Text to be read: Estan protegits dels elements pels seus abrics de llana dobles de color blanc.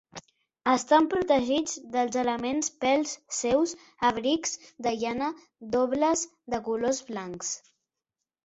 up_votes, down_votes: 1, 2